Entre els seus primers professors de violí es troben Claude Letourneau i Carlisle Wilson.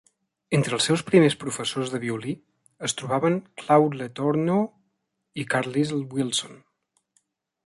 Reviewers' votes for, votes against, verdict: 0, 2, rejected